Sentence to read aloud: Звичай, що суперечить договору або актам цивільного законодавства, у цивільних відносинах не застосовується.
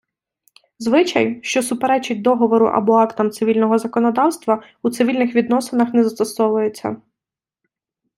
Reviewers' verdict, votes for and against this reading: accepted, 2, 0